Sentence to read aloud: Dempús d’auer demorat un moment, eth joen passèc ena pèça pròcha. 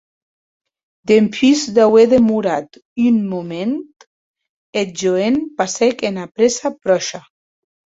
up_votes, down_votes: 0, 2